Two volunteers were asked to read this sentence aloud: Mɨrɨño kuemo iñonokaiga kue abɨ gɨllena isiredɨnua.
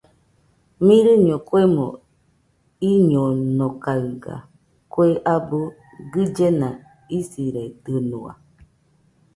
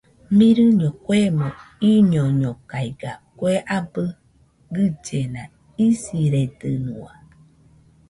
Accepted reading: first